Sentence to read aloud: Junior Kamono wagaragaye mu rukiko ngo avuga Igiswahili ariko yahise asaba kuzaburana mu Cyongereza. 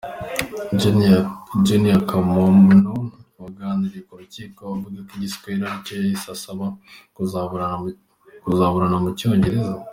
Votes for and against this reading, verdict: 0, 2, rejected